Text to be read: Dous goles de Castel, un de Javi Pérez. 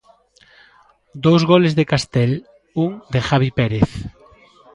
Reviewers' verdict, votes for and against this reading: accepted, 2, 0